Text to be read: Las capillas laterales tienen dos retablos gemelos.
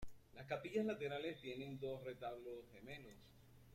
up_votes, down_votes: 2, 0